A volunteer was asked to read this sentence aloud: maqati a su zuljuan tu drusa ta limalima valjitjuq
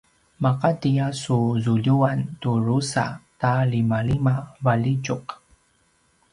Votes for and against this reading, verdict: 2, 0, accepted